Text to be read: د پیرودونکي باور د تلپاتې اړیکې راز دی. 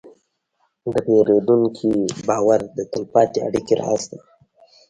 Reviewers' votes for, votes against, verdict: 1, 2, rejected